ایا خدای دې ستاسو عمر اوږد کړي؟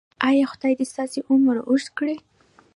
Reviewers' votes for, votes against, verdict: 1, 2, rejected